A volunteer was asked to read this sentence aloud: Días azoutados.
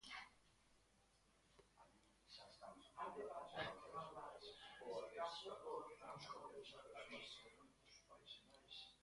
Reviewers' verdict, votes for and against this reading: rejected, 0, 2